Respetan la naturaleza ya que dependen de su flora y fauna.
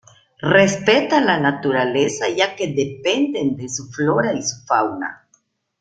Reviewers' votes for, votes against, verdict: 0, 2, rejected